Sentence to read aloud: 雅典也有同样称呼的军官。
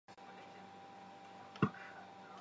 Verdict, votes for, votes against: rejected, 1, 2